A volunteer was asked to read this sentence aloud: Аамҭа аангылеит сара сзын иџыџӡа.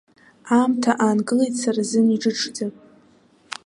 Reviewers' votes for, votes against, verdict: 2, 0, accepted